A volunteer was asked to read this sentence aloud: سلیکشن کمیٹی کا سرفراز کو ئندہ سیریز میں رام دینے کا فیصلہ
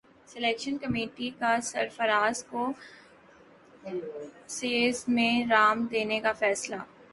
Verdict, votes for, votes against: rejected, 1, 2